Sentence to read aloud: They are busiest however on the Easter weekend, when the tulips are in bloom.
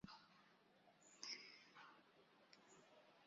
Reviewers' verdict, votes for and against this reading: rejected, 0, 2